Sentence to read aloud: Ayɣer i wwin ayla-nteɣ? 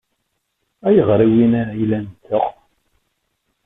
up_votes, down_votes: 0, 2